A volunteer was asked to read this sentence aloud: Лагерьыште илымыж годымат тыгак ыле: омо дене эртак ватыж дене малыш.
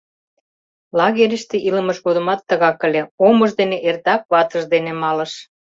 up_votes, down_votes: 1, 2